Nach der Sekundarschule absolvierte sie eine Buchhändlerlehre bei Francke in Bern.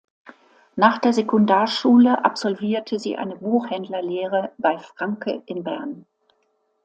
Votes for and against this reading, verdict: 2, 0, accepted